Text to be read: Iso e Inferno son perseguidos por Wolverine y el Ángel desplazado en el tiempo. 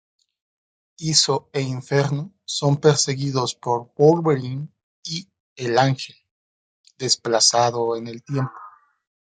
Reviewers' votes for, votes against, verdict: 2, 0, accepted